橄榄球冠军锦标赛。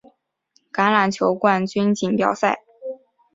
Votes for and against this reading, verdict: 4, 0, accepted